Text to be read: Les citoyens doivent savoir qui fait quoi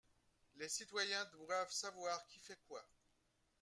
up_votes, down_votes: 2, 1